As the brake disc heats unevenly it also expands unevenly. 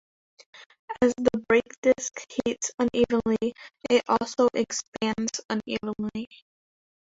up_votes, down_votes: 1, 2